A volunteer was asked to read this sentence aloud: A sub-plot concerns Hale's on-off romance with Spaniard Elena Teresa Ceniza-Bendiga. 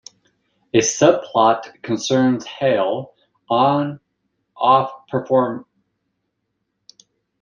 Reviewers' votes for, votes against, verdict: 0, 2, rejected